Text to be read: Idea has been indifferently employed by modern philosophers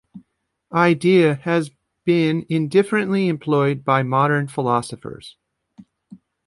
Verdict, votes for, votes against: accepted, 2, 0